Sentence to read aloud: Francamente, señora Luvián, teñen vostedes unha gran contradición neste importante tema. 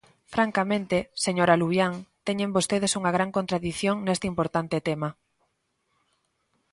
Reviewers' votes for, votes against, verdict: 2, 0, accepted